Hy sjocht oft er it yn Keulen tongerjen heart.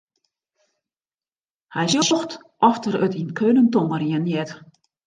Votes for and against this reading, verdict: 1, 2, rejected